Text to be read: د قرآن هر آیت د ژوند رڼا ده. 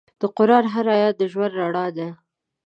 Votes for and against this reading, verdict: 2, 0, accepted